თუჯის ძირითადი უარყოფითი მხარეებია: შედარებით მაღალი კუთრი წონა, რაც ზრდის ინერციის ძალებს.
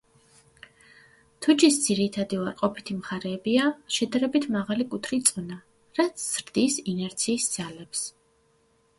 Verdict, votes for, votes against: accepted, 2, 0